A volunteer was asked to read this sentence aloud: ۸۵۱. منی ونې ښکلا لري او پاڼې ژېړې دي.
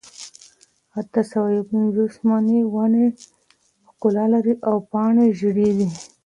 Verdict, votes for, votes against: rejected, 0, 2